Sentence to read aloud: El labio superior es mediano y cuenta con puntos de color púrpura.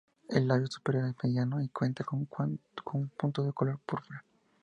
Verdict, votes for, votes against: rejected, 0, 2